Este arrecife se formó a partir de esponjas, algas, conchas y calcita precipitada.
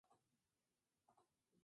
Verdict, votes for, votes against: rejected, 0, 2